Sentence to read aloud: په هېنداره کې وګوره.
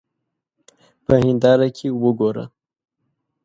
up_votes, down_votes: 2, 0